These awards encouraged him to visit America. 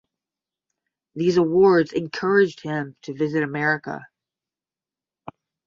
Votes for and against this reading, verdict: 10, 0, accepted